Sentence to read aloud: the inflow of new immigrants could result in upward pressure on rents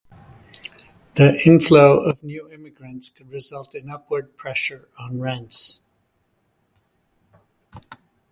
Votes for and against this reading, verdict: 0, 2, rejected